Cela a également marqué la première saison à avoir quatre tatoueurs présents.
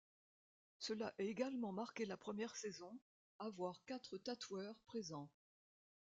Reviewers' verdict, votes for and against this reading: rejected, 1, 2